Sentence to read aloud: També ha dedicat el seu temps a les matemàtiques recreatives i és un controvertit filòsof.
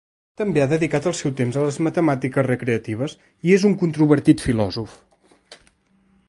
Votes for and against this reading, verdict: 2, 0, accepted